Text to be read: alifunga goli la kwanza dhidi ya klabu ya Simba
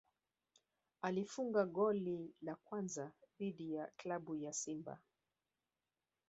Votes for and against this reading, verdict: 1, 2, rejected